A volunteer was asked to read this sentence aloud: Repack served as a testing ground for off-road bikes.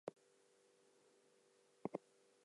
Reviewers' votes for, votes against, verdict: 0, 4, rejected